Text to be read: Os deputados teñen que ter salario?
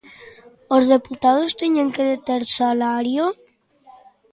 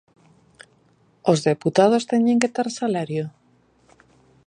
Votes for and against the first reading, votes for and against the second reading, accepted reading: 1, 2, 2, 0, second